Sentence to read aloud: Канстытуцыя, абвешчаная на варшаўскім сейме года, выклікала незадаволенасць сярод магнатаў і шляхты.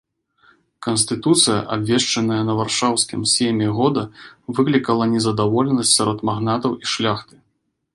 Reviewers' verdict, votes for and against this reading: rejected, 1, 2